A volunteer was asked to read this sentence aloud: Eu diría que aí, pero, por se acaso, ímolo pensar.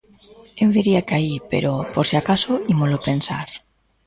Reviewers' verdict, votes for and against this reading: accepted, 2, 0